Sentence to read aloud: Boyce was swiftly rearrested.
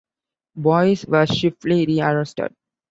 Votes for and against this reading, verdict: 2, 0, accepted